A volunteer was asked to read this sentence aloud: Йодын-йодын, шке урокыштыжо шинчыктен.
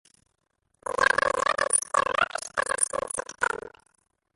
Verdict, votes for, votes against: rejected, 0, 2